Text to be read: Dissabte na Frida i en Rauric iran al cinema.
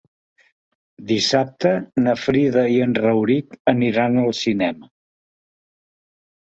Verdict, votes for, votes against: rejected, 1, 3